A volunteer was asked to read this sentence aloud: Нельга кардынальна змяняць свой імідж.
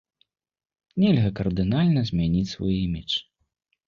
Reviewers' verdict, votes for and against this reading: rejected, 1, 2